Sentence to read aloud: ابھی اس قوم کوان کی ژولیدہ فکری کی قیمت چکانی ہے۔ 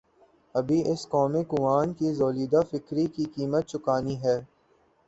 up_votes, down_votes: 0, 2